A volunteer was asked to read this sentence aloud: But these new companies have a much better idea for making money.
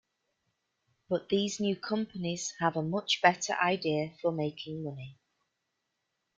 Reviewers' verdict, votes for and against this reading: accepted, 3, 0